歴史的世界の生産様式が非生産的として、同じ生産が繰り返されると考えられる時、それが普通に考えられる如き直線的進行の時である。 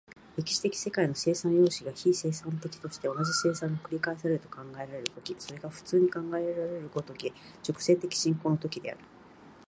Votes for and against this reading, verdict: 1, 2, rejected